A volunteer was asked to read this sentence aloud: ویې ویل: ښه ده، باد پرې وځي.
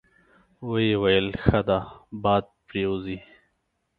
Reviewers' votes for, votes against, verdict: 2, 0, accepted